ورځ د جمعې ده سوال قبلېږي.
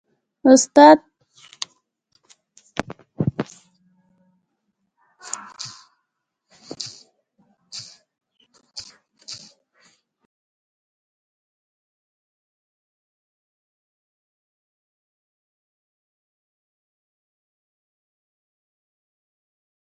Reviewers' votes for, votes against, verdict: 0, 2, rejected